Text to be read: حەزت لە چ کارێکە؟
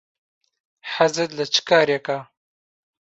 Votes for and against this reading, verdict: 4, 0, accepted